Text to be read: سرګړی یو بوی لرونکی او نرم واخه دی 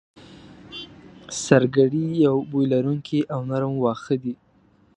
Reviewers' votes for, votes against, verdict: 1, 2, rejected